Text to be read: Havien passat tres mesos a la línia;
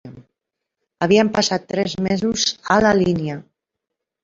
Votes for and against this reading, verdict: 0, 2, rejected